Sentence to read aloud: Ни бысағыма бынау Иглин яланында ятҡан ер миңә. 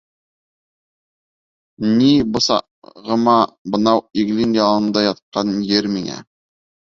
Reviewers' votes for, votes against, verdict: 3, 4, rejected